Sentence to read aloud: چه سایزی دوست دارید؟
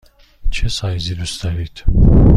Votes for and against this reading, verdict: 2, 0, accepted